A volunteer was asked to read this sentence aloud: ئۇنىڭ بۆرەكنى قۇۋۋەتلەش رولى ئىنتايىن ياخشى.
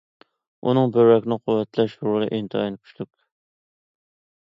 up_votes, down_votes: 0, 2